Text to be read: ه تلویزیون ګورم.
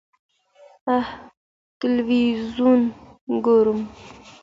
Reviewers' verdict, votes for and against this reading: accepted, 2, 0